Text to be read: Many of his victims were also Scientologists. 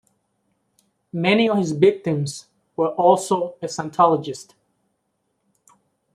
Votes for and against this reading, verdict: 1, 2, rejected